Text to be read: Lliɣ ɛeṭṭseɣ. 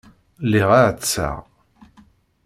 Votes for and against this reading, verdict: 1, 2, rejected